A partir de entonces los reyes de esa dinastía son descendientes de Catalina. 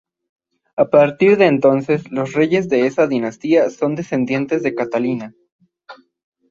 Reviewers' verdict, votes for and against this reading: accepted, 3, 1